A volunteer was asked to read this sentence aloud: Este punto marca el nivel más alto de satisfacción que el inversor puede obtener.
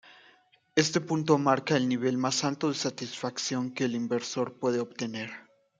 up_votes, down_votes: 2, 0